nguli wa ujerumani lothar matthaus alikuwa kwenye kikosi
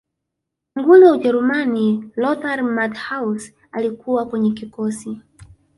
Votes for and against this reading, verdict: 5, 0, accepted